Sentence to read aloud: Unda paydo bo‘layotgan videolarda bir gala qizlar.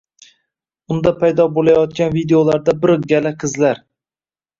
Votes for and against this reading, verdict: 2, 0, accepted